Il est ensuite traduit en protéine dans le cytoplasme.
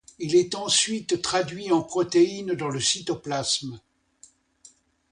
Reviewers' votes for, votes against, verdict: 2, 0, accepted